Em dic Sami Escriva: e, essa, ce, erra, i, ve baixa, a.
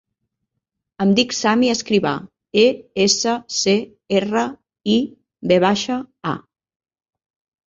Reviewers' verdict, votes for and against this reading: accepted, 3, 0